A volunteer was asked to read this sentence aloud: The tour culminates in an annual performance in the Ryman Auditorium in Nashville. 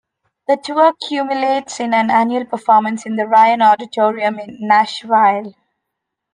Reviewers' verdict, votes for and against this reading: rejected, 0, 2